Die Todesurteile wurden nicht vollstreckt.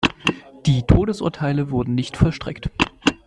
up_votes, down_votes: 2, 1